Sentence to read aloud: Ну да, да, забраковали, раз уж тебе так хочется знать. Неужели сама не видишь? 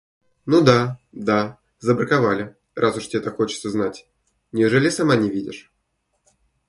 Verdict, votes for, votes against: rejected, 1, 2